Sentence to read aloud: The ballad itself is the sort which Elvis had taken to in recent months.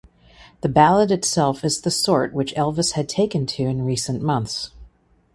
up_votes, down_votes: 2, 0